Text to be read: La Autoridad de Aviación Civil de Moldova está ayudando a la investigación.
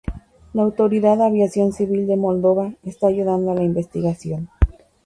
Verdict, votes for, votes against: accepted, 2, 0